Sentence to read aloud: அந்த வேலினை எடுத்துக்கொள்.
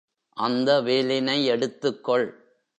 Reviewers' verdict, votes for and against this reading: accepted, 3, 0